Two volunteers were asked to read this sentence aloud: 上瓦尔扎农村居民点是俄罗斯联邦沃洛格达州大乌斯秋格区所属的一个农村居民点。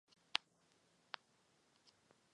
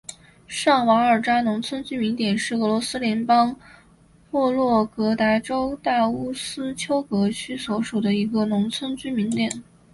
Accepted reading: second